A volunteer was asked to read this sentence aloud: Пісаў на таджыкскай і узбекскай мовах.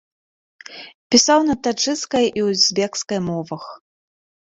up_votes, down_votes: 2, 0